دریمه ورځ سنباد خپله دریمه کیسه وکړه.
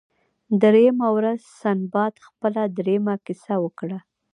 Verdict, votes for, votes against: rejected, 0, 2